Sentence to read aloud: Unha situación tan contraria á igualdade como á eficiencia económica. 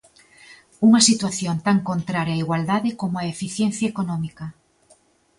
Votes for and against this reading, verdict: 2, 0, accepted